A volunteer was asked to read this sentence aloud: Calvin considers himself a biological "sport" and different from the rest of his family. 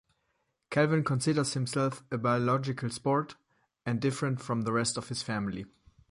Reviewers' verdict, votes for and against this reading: accepted, 2, 0